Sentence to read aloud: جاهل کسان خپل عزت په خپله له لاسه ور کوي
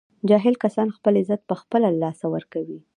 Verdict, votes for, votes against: rejected, 0, 2